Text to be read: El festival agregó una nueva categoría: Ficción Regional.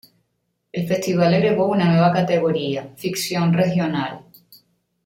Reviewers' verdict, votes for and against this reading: accepted, 2, 0